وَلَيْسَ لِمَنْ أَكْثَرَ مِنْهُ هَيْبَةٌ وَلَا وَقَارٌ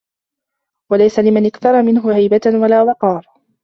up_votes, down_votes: 2, 1